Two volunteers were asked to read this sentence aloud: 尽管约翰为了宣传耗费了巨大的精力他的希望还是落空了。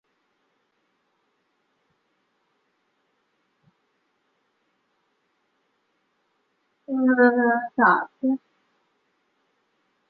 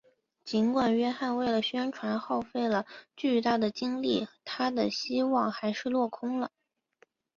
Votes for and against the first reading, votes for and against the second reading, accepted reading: 0, 3, 2, 0, second